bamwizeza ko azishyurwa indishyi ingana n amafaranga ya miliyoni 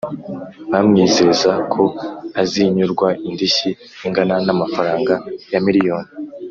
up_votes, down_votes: 2, 3